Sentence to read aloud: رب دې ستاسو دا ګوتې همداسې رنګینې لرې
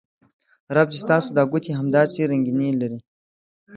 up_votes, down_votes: 2, 0